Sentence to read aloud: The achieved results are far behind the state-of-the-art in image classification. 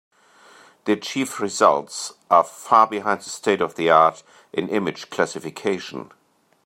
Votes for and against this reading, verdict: 3, 0, accepted